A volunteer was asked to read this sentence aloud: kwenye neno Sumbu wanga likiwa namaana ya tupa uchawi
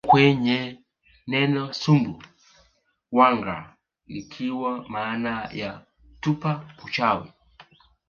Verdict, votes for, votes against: rejected, 0, 2